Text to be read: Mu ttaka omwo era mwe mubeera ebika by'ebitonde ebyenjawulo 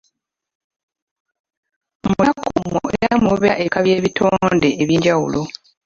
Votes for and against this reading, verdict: 0, 2, rejected